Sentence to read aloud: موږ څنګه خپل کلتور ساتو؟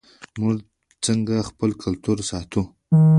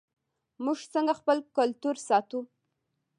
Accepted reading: first